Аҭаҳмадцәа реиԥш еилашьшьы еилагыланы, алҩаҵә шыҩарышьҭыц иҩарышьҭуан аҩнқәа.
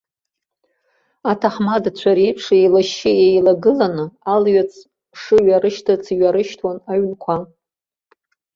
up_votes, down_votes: 2, 0